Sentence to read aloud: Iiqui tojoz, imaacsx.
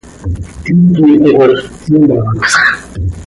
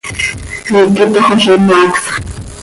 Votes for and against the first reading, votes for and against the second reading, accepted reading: 1, 2, 2, 0, second